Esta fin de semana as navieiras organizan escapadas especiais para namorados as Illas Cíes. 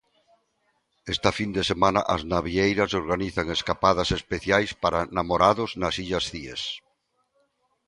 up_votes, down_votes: 0, 2